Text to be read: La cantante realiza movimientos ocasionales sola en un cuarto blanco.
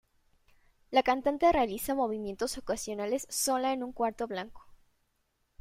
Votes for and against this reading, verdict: 2, 0, accepted